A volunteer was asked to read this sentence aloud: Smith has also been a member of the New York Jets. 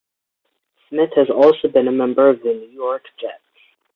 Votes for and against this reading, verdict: 2, 0, accepted